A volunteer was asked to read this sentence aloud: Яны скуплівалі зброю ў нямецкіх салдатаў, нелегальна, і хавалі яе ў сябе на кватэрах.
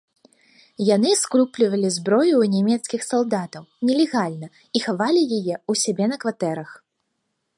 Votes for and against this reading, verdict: 0, 2, rejected